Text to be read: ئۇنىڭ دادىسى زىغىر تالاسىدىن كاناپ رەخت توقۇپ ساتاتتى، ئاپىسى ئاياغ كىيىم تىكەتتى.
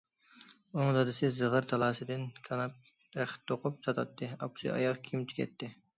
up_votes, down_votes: 2, 0